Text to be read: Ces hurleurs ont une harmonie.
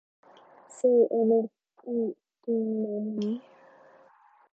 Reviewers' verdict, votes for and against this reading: rejected, 1, 2